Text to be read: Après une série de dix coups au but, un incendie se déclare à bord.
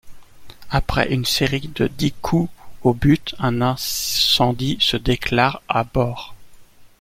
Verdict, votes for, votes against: rejected, 1, 2